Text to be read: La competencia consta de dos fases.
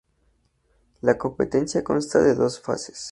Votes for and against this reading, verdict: 2, 0, accepted